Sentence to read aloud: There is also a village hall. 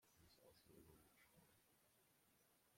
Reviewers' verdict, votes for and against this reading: rejected, 0, 2